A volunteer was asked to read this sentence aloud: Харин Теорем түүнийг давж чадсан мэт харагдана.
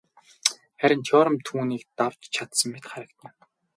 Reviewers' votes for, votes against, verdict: 8, 0, accepted